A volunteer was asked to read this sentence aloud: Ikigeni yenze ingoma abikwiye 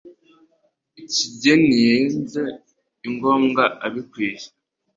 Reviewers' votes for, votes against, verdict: 2, 1, accepted